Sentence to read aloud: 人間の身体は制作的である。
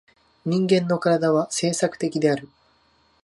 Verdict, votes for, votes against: accepted, 2, 0